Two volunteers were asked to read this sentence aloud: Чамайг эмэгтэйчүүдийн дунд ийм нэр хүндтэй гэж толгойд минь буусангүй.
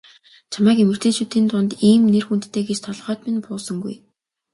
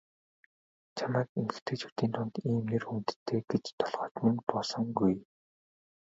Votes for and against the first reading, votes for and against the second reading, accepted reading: 2, 0, 1, 2, first